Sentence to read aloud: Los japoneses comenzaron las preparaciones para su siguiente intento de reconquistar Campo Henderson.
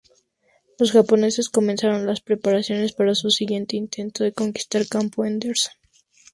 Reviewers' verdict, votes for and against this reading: rejected, 0, 6